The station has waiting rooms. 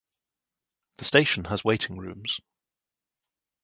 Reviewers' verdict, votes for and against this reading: accepted, 2, 0